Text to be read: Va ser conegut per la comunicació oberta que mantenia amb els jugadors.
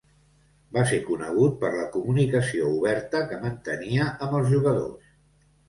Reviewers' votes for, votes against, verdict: 2, 0, accepted